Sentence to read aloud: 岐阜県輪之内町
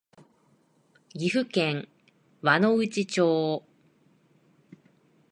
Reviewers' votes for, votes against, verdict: 2, 0, accepted